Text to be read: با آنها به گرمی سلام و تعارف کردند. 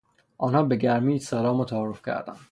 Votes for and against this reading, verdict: 3, 0, accepted